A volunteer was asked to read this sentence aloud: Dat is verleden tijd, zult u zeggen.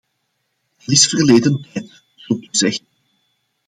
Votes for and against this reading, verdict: 1, 2, rejected